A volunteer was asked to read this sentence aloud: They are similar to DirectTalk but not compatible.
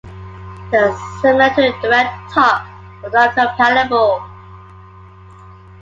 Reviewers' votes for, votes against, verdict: 2, 0, accepted